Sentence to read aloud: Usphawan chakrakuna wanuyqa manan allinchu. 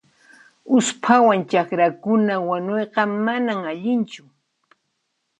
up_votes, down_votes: 3, 0